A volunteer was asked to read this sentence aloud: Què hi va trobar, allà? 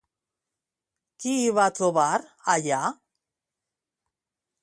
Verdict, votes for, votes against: rejected, 0, 2